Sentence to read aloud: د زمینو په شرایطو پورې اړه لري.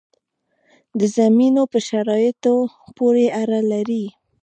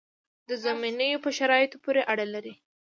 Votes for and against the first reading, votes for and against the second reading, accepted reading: 2, 0, 0, 2, first